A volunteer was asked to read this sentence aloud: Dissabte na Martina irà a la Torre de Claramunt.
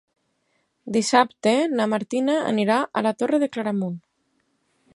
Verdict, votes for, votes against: rejected, 2, 4